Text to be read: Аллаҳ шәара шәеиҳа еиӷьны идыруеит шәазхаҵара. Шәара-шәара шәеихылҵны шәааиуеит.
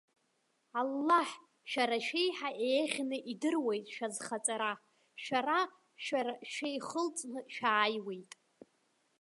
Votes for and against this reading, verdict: 2, 1, accepted